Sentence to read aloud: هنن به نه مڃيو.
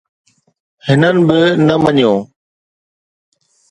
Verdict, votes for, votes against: accepted, 2, 0